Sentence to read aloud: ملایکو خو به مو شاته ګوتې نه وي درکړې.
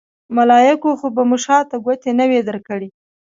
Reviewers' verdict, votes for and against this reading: accepted, 2, 1